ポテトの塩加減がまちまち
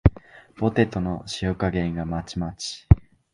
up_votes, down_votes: 2, 0